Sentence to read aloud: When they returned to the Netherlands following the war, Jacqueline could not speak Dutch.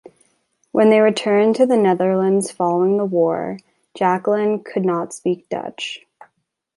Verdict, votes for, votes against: accepted, 2, 0